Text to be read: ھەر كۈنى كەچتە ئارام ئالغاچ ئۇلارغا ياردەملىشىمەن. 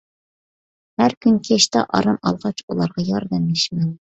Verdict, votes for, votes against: accepted, 2, 0